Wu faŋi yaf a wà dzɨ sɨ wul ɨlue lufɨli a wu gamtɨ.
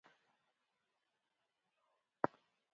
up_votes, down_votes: 0, 2